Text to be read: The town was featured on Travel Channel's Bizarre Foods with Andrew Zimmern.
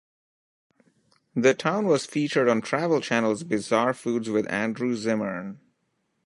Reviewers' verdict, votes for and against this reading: accepted, 2, 0